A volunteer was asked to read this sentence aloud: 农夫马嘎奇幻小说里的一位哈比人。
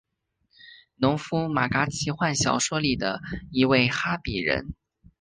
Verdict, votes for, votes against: accepted, 2, 1